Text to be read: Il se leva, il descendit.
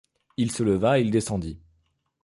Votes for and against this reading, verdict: 2, 0, accepted